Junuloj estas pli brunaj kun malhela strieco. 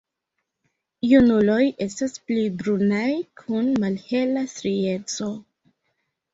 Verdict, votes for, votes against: rejected, 1, 2